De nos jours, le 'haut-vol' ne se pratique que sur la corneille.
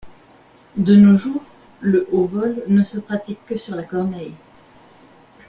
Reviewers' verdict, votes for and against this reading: rejected, 1, 2